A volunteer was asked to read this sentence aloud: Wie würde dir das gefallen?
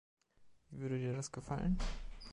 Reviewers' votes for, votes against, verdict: 0, 2, rejected